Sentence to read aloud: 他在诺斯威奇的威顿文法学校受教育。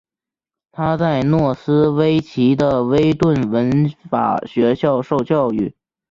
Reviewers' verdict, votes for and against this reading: rejected, 1, 2